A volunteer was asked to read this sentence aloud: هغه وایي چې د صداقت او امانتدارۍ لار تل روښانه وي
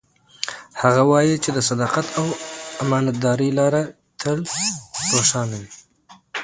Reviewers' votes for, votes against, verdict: 2, 0, accepted